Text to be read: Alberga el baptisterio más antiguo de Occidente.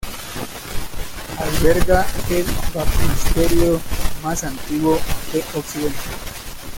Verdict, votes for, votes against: rejected, 0, 2